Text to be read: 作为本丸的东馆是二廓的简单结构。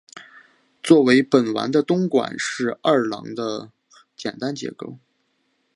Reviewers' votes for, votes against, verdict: 3, 0, accepted